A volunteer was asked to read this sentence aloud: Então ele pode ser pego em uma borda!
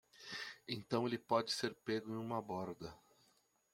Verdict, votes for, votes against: rejected, 1, 2